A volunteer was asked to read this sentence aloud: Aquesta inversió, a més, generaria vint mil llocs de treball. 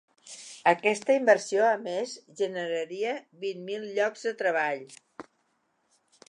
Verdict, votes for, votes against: accepted, 3, 0